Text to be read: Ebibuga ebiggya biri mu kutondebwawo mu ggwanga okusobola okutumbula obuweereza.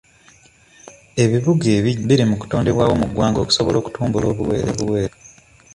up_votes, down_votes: 1, 2